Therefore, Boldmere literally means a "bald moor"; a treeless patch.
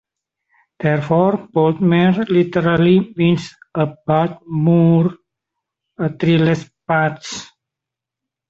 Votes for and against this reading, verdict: 2, 0, accepted